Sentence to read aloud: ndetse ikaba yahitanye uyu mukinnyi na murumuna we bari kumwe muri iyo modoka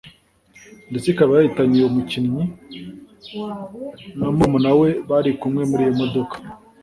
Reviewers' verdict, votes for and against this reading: accepted, 2, 0